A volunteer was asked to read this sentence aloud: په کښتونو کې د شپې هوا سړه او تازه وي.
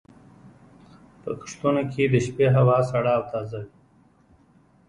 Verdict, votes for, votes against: accepted, 2, 0